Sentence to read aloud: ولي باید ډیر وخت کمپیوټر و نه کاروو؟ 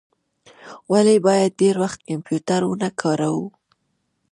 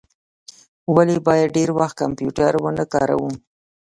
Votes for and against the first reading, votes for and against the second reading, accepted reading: 2, 0, 0, 2, first